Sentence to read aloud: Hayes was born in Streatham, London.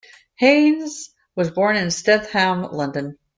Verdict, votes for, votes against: accepted, 2, 0